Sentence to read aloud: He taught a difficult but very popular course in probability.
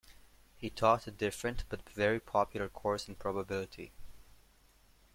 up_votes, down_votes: 0, 2